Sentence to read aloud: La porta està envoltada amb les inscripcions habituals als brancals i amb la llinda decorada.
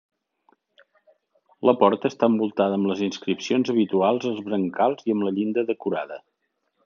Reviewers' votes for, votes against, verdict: 3, 0, accepted